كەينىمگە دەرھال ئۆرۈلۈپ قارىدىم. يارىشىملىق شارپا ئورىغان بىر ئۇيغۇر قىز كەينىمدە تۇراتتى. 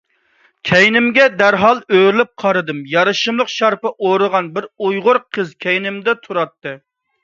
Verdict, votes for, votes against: accepted, 2, 0